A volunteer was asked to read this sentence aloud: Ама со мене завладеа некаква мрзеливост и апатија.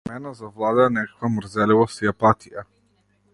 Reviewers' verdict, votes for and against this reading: rejected, 0, 2